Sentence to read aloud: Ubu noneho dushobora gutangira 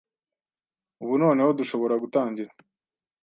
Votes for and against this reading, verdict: 2, 0, accepted